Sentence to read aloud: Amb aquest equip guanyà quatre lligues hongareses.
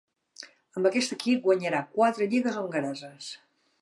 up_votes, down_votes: 0, 2